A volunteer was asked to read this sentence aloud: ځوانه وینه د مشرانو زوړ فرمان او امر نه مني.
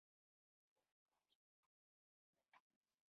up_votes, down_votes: 1, 2